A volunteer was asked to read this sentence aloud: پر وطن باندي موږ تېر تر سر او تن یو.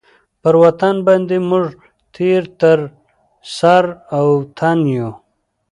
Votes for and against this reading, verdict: 1, 2, rejected